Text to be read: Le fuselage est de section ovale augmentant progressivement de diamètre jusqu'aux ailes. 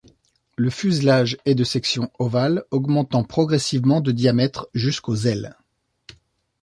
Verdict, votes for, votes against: accepted, 2, 0